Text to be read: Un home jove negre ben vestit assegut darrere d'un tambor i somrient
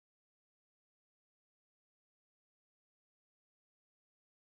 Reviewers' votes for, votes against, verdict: 0, 2, rejected